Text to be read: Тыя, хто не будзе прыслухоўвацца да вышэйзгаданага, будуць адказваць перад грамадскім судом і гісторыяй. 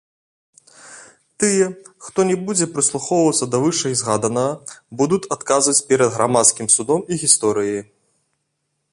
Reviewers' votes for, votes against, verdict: 1, 2, rejected